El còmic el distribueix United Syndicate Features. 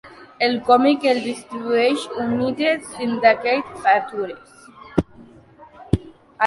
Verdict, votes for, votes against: accepted, 2, 1